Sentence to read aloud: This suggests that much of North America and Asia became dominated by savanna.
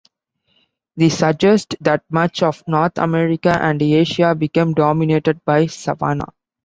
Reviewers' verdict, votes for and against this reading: rejected, 0, 2